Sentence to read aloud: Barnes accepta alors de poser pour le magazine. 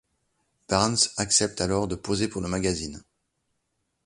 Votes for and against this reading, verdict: 1, 2, rejected